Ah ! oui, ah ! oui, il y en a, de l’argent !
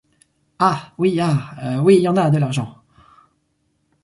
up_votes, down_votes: 2, 4